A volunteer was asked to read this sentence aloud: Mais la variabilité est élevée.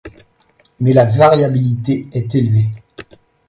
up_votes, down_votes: 2, 0